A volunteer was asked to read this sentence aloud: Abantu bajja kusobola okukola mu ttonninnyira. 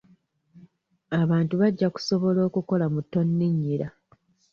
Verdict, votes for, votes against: accepted, 2, 0